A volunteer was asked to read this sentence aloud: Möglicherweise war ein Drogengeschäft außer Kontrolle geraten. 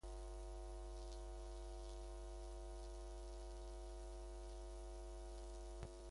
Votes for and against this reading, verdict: 0, 2, rejected